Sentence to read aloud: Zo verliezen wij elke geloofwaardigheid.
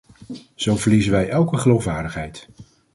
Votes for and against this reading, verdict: 2, 0, accepted